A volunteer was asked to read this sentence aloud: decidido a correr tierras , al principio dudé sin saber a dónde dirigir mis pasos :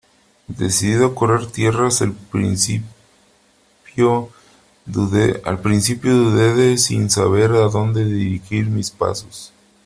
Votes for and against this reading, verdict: 0, 3, rejected